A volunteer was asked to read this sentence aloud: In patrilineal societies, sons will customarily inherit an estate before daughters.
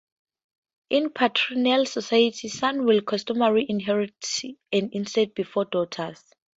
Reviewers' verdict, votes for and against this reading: accepted, 2, 0